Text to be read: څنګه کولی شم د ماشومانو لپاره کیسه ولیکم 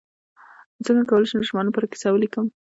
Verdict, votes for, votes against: accepted, 2, 0